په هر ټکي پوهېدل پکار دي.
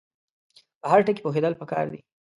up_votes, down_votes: 2, 0